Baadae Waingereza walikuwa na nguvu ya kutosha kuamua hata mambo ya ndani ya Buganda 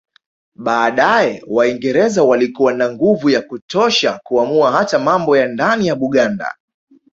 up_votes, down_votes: 2, 1